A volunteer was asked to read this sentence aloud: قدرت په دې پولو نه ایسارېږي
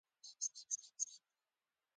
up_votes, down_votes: 1, 2